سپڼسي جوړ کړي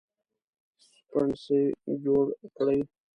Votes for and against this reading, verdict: 1, 2, rejected